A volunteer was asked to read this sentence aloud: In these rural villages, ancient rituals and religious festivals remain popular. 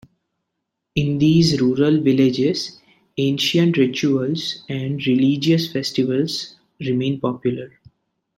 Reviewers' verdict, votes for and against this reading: accepted, 2, 0